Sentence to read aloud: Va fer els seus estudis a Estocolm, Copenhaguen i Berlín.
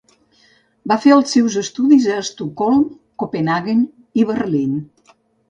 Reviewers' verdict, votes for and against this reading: accepted, 2, 0